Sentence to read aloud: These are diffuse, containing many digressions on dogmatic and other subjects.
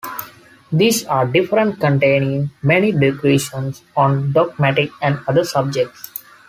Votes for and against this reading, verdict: 1, 2, rejected